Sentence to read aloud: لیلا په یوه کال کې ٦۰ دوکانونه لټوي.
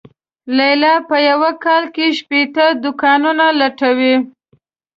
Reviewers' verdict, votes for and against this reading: rejected, 0, 2